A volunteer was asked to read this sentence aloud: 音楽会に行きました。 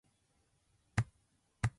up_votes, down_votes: 0, 2